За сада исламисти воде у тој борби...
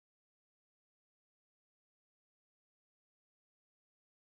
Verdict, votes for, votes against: rejected, 0, 2